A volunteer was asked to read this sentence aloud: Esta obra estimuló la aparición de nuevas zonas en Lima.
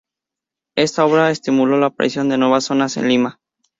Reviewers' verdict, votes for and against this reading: accepted, 2, 0